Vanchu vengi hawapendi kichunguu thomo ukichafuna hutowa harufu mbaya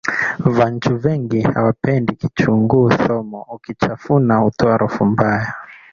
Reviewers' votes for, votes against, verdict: 2, 1, accepted